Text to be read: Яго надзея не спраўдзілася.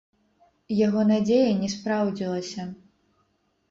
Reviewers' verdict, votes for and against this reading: rejected, 0, 2